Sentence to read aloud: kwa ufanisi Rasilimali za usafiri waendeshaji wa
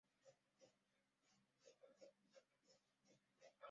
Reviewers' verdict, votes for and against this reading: rejected, 0, 2